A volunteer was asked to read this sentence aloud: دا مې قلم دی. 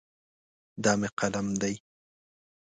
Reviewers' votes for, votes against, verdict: 2, 0, accepted